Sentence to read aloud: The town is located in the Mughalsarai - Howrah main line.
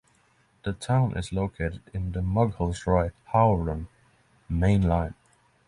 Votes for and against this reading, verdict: 6, 0, accepted